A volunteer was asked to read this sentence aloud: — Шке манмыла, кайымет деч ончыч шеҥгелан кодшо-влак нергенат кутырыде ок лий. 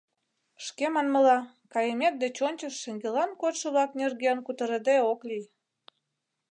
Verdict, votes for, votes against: rejected, 0, 2